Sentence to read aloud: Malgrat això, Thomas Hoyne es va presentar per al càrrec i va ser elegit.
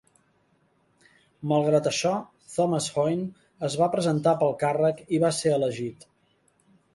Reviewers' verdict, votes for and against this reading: rejected, 1, 2